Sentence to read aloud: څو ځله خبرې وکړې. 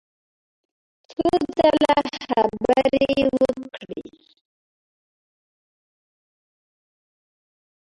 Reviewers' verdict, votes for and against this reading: rejected, 0, 2